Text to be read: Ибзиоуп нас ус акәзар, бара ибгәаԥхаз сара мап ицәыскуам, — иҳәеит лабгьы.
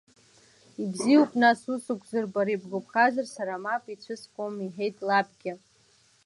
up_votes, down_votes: 2, 1